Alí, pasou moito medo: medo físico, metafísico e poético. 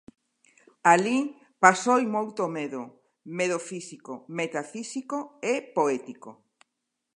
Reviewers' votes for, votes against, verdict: 0, 2, rejected